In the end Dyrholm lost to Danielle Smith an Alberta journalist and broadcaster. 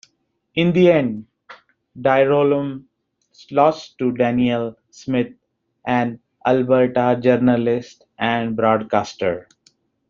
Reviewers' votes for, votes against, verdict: 1, 2, rejected